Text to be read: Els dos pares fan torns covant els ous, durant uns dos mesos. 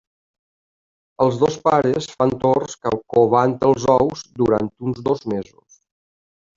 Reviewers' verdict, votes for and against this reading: rejected, 1, 2